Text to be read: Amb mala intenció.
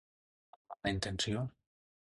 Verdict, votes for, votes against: rejected, 0, 2